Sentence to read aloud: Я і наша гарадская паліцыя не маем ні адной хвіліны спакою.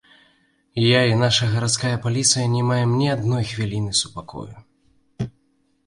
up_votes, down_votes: 1, 2